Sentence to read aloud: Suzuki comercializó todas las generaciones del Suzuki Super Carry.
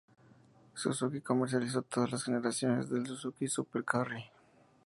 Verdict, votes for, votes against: accepted, 2, 0